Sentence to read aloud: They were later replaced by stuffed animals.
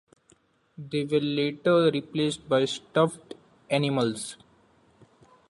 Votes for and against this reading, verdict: 2, 0, accepted